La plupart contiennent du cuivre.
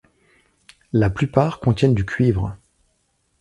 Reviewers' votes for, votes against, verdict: 2, 0, accepted